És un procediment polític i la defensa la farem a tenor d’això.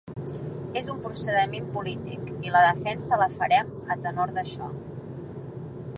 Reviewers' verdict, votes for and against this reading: rejected, 1, 2